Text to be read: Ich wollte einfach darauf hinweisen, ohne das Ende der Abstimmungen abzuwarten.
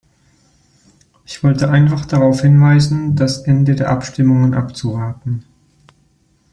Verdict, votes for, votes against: rejected, 0, 2